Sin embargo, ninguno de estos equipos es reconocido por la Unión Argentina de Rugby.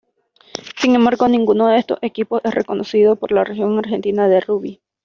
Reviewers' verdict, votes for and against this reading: rejected, 1, 2